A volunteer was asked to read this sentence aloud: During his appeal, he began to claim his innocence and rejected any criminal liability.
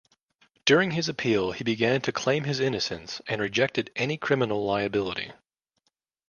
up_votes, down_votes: 2, 0